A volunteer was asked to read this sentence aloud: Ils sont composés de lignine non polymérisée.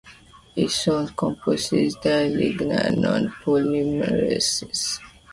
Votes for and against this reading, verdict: 1, 2, rejected